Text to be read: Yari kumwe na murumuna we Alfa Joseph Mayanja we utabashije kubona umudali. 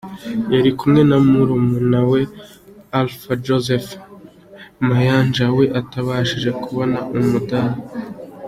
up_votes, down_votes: 2, 1